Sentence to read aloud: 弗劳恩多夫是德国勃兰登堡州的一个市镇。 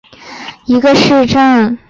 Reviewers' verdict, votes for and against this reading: rejected, 2, 4